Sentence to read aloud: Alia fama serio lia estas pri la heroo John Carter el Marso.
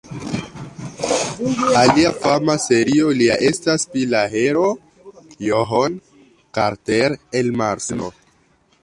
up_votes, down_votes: 2, 1